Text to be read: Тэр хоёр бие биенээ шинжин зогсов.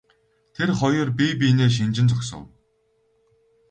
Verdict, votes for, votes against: rejected, 0, 4